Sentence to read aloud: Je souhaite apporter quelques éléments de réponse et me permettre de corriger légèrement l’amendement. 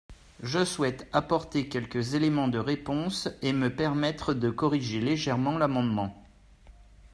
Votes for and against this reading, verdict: 2, 0, accepted